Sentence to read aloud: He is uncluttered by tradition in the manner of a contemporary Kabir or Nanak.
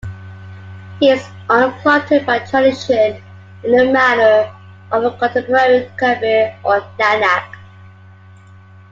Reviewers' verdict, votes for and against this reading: accepted, 2, 0